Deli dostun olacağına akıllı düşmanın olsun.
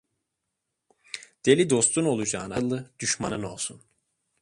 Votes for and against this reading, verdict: 1, 2, rejected